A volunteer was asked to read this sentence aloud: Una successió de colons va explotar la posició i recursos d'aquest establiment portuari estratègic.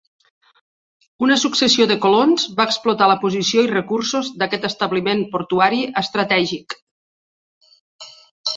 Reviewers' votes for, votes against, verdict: 2, 0, accepted